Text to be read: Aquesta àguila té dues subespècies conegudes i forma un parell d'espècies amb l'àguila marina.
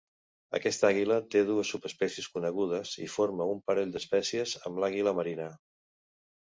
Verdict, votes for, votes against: accepted, 2, 0